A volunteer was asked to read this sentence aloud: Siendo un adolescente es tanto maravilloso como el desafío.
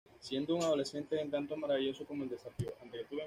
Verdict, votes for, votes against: rejected, 0, 2